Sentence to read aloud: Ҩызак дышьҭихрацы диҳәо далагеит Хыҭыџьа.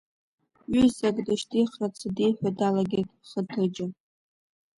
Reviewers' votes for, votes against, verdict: 2, 0, accepted